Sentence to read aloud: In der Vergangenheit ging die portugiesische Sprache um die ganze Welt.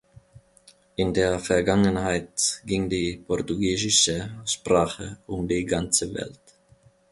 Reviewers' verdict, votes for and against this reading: accepted, 2, 0